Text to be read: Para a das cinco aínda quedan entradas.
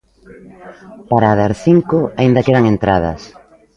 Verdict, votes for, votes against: accepted, 2, 1